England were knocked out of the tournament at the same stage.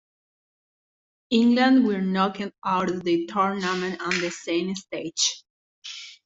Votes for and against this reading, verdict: 0, 2, rejected